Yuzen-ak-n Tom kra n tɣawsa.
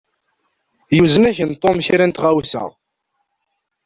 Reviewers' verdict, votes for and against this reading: rejected, 1, 2